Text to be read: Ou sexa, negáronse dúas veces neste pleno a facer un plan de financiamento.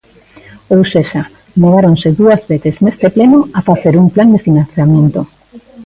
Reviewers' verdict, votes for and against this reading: rejected, 1, 2